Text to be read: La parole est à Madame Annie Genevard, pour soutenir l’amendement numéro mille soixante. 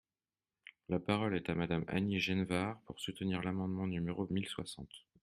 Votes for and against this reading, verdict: 2, 0, accepted